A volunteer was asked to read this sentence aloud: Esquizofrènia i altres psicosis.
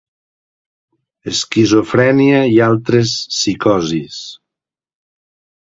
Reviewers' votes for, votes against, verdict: 2, 0, accepted